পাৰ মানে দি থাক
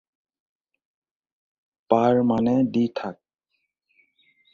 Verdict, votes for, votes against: rejected, 2, 2